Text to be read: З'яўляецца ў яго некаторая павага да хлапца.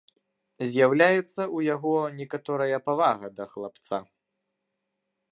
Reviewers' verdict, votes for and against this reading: rejected, 0, 2